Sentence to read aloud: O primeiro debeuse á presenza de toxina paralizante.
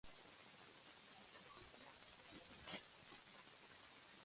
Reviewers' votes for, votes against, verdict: 0, 2, rejected